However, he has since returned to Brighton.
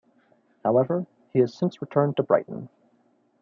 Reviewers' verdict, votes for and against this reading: accepted, 2, 0